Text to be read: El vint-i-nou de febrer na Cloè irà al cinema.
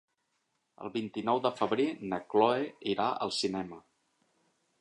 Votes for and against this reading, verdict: 4, 1, accepted